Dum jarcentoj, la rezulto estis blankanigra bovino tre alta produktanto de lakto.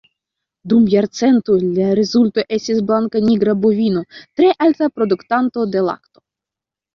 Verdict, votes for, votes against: rejected, 0, 2